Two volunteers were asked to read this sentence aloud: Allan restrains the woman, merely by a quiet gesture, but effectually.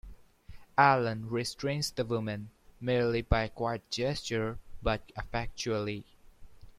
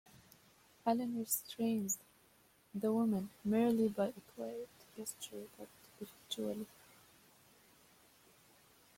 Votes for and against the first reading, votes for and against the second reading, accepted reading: 2, 0, 0, 2, first